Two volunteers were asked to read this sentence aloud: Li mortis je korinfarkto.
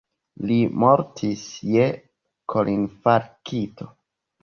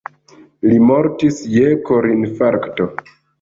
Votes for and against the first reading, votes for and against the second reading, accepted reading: 0, 2, 2, 0, second